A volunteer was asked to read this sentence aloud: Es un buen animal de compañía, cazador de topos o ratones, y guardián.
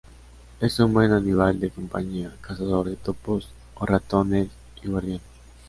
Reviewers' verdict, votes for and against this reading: accepted, 2, 0